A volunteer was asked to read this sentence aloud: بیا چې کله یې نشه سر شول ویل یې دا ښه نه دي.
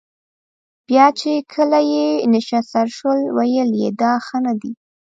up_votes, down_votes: 0, 2